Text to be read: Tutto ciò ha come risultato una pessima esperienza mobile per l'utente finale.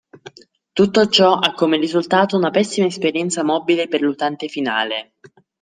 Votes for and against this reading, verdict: 2, 0, accepted